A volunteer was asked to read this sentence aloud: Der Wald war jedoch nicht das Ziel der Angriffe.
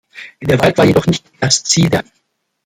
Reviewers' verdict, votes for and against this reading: rejected, 0, 2